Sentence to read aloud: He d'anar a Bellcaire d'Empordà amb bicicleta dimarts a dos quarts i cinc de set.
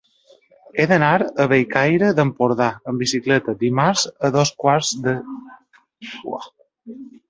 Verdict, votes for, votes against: rejected, 0, 2